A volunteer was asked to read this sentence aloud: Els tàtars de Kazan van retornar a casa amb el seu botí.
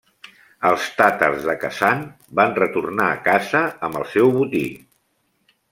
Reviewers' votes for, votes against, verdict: 2, 0, accepted